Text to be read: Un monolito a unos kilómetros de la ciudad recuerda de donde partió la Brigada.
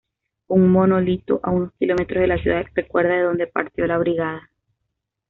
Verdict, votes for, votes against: accepted, 2, 0